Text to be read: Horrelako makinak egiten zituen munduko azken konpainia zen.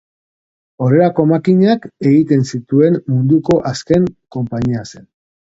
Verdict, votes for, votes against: rejected, 0, 2